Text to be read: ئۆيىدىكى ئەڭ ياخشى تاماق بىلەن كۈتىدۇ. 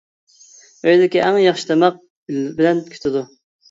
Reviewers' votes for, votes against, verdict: 1, 2, rejected